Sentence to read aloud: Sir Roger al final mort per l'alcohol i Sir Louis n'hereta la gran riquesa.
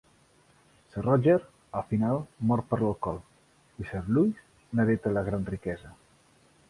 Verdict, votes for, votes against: accepted, 2, 0